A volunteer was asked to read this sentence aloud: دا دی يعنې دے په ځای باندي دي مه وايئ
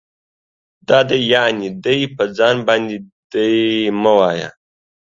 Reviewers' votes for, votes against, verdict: 2, 0, accepted